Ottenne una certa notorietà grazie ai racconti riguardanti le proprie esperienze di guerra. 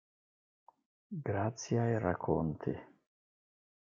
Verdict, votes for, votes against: rejected, 0, 2